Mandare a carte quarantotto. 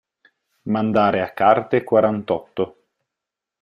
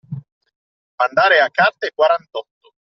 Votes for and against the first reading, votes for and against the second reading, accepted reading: 4, 0, 1, 2, first